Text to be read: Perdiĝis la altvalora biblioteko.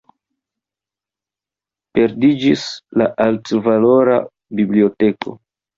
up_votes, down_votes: 0, 2